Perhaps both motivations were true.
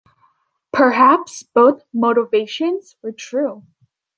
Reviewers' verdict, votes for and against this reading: accepted, 2, 0